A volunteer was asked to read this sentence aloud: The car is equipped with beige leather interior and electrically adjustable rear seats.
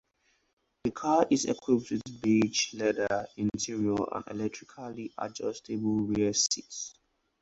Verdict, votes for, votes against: accepted, 4, 0